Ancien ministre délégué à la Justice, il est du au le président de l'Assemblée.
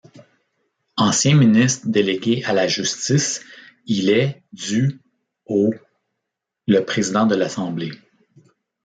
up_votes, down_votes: 0, 2